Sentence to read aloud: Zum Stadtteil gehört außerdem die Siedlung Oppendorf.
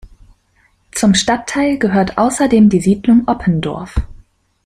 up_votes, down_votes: 2, 0